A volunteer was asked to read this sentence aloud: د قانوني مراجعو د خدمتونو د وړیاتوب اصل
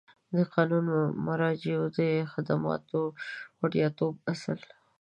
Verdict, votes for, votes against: rejected, 1, 2